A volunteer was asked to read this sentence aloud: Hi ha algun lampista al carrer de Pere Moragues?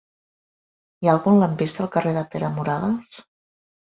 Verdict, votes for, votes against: accepted, 3, 0